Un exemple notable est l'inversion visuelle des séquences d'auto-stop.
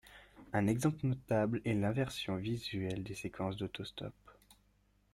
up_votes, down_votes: 2, 0